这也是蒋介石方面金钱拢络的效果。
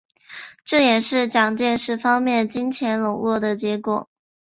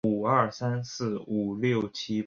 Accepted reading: first